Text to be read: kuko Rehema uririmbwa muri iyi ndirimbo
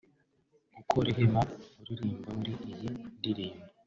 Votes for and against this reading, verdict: 2, 0, accepted